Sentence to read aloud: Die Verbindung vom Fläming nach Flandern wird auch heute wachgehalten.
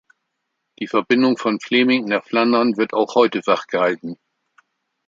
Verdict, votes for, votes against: accepted, 2, 0